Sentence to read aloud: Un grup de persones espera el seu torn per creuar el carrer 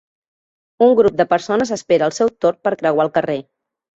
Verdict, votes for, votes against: rejected, 0, 2